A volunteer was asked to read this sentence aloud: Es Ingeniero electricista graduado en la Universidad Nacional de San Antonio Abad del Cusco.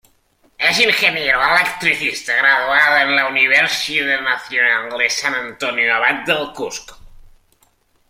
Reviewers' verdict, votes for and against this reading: accepted, 2, 0